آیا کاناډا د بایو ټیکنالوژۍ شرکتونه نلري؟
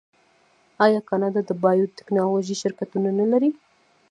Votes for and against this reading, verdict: 1, 2, rejected